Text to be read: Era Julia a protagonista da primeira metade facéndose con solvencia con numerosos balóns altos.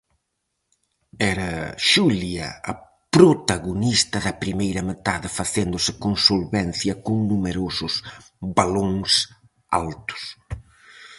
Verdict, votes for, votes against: rejected, 0, 4